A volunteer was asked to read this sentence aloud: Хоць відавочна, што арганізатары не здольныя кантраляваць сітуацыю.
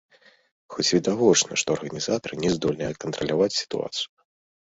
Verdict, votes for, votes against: accepted, 2, 0